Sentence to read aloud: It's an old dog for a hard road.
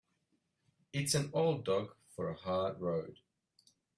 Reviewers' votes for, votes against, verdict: 2, 0, accepted